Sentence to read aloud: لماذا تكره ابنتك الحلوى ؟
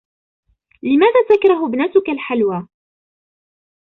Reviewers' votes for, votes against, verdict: 1, 2, rejected